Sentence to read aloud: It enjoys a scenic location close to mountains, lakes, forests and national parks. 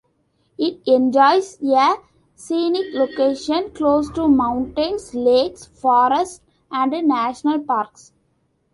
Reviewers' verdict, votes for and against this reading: rejected, 0, 2